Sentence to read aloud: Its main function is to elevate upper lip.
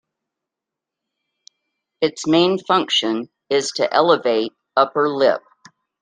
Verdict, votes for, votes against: accepted, 2, 1